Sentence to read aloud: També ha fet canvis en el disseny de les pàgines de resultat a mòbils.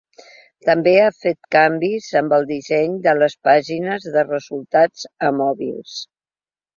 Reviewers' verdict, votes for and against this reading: rejected, 3, 4